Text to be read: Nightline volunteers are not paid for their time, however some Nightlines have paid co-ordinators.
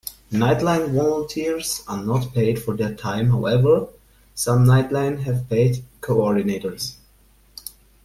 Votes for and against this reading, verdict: 2, 1, accepted